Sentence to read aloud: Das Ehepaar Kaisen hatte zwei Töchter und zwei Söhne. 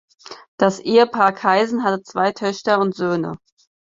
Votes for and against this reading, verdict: 0, 4, rejected